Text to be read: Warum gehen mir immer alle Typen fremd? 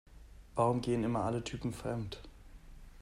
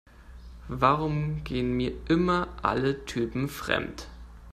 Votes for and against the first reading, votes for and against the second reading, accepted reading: 0, 2, 2, 0, second